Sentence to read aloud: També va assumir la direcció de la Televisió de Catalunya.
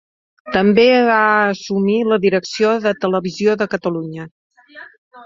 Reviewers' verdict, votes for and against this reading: rejected, 2, 3